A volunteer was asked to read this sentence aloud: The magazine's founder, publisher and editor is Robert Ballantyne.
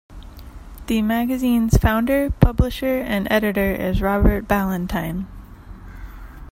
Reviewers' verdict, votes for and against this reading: accepted, 2, 0